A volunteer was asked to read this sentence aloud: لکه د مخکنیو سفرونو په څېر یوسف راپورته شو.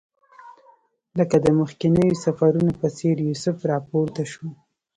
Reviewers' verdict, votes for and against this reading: rejected, 1, 2